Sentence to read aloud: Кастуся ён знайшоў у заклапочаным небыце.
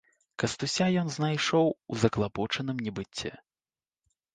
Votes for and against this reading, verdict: 2, 0, accepted